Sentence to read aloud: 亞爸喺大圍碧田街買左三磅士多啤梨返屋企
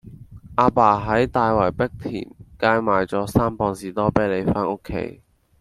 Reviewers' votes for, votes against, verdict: 1, 2, rejected